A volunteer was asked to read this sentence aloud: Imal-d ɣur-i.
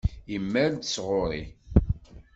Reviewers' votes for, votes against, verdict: 1, 2, rejected